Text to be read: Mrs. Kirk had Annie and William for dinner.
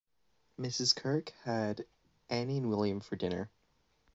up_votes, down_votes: 1, 2